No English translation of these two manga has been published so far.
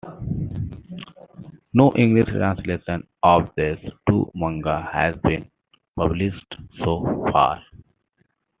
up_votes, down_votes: 2, 1